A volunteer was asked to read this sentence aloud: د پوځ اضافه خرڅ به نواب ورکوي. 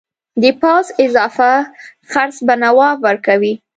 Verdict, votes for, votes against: accepted, 2, 0